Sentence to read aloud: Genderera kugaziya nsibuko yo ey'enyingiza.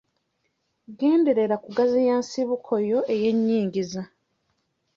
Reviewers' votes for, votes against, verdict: 0, 2, rejected